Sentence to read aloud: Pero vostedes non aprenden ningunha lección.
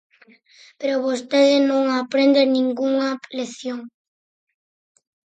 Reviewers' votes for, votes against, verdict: 0, 4, rejected